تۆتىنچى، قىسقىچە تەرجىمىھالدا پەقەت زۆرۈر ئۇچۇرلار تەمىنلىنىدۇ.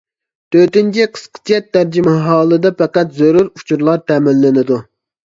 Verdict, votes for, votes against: rejected, 1, 2